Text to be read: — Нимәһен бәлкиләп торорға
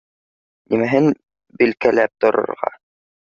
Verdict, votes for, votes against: rejected, 0, 2